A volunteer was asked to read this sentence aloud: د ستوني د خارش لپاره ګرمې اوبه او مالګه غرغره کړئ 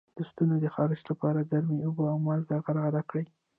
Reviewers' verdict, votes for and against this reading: accepted, 2, 1